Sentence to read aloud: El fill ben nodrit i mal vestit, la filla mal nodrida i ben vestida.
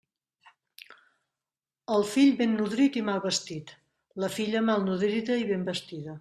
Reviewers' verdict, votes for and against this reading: accepted, 3, 0